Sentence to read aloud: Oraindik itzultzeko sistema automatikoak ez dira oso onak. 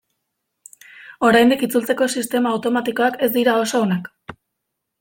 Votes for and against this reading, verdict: 2, 0, accepted